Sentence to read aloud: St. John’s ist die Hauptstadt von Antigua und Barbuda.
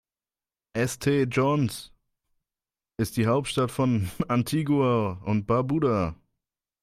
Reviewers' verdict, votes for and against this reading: rejected, 1, 2